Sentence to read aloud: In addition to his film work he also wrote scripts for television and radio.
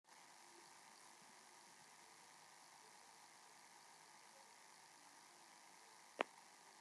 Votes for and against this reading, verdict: 0, 2, rejected